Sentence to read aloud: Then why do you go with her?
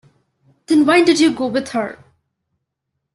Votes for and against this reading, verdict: 0, 2, rejected